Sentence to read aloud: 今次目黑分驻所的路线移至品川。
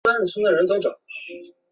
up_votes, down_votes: 2, 4